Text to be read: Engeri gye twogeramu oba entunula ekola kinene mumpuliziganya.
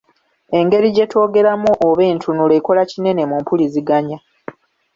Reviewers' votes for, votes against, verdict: 2, 0, accepted